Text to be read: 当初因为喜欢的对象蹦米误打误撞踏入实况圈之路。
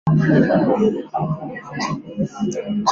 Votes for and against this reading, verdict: 1, 4, rejected